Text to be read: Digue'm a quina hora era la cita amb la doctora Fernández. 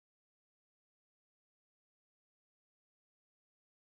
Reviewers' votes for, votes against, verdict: 0, 2, rejected